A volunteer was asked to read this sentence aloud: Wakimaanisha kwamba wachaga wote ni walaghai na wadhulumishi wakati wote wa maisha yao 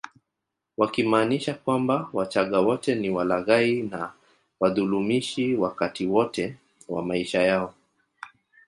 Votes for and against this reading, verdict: 1, 2, rejected